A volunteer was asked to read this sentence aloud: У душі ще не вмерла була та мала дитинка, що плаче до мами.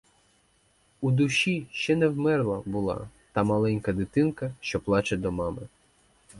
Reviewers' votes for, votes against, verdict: 0, 4, rejected